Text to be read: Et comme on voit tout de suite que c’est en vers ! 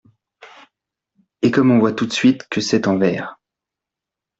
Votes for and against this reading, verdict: 2, 0, accepted